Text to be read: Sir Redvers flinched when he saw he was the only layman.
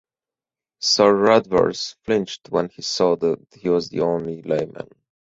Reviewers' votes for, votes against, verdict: 2, 4, rejected